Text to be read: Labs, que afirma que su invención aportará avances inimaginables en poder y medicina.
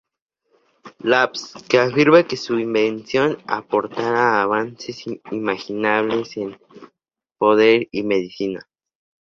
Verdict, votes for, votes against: accepted, 2, 0